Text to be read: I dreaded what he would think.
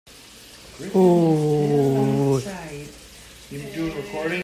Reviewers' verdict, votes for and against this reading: rejected, 0, 2